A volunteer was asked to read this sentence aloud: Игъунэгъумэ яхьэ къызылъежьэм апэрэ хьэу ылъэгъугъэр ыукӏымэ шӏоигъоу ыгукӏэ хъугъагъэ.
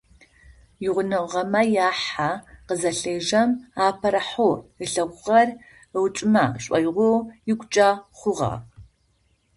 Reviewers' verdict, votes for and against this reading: rejected, 0, 4